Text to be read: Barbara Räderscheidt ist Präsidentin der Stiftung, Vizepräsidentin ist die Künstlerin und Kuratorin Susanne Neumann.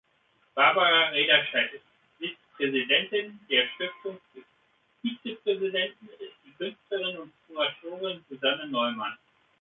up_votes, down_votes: 1, 2